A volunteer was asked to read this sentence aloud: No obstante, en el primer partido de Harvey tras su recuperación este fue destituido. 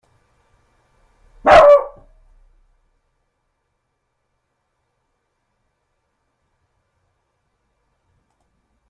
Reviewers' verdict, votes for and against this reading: rejected, 0, 2